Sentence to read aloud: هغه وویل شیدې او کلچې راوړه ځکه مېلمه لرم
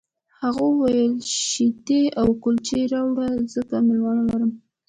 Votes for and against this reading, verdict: 2, 0, accepted